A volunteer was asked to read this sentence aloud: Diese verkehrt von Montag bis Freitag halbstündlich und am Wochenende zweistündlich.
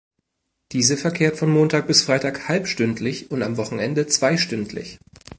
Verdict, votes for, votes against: accepted, 2, 0